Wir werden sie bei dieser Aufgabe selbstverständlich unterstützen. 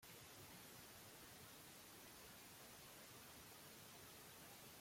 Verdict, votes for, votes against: rejected, 0, 2